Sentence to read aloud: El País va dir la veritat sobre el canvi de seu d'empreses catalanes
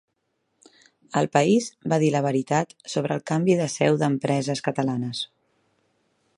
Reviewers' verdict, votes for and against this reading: accepted, 4, 0